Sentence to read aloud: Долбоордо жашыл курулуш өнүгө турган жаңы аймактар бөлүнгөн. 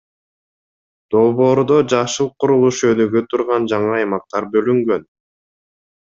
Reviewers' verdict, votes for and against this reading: accepted, 2, 0